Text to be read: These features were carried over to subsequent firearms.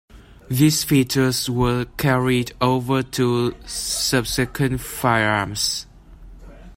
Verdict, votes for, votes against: accepted, 2, 1